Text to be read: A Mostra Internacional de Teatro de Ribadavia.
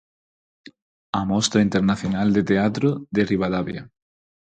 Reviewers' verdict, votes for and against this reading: accepted, 4, 0